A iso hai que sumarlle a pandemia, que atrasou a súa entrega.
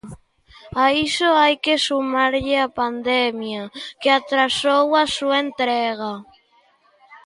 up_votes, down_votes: 2, 0